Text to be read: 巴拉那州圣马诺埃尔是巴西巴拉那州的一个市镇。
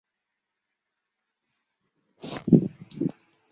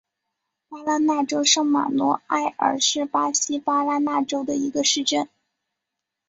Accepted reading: second